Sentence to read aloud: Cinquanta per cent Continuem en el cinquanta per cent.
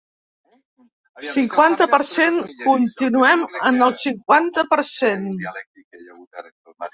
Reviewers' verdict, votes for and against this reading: accepted, 4, 2